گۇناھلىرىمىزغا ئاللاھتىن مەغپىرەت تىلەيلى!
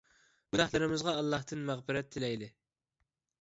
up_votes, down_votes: 2, 1